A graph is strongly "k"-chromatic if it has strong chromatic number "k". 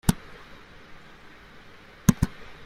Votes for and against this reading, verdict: 0, 2, rejected